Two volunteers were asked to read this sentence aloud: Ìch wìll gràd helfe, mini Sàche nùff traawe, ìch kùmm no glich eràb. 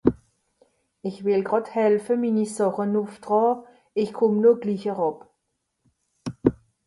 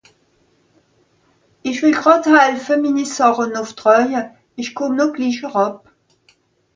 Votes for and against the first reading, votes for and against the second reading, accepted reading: 0, 2, 2, 0, second